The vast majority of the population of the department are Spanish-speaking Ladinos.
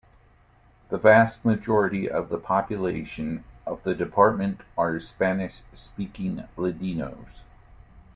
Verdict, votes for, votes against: rejected, 1, 2